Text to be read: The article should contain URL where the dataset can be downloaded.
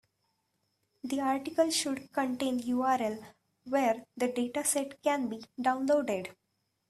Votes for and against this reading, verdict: 2, 0, accepted